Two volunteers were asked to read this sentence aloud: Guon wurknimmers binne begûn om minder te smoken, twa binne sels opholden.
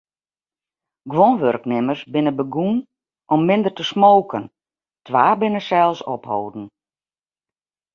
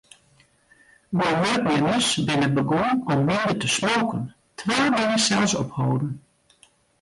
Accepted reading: first